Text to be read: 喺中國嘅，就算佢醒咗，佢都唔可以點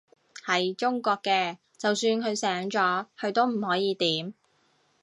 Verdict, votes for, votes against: rejected, 1, 2